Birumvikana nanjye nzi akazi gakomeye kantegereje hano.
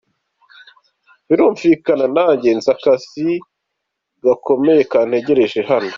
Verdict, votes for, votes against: accepted, 2, 0